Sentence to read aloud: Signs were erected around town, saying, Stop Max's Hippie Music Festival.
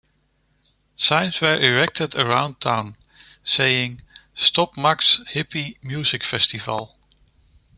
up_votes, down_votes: 2, 0